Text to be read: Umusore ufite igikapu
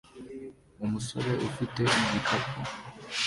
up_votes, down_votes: 2, 0